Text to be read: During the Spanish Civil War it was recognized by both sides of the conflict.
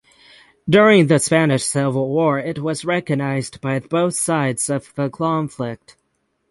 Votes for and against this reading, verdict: 0, 6, rejected